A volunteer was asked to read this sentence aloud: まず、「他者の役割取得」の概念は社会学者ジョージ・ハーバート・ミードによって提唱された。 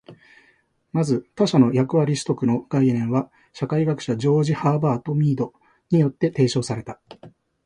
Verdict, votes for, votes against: accepted, 2, 0